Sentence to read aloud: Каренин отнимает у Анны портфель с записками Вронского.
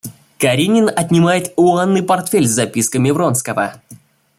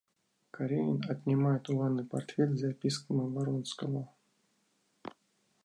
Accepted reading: first